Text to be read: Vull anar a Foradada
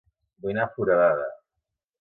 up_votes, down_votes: 1, 2